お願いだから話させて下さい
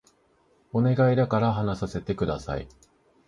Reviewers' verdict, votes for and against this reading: accepted, 2, 0